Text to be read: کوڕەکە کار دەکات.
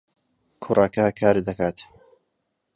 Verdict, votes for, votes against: accepted, 2, 0